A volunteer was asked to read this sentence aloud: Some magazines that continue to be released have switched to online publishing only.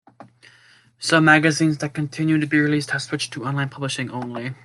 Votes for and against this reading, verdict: 3, 0, accepted